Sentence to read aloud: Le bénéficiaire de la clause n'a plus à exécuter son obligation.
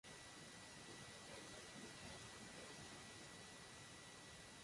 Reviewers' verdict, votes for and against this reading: rejected, 1, 2